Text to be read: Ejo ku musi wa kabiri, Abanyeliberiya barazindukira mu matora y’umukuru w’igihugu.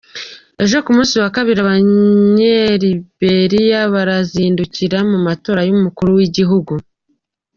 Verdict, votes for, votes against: accepted, 2, 1